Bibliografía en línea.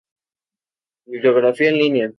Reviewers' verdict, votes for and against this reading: accepted, 2, 0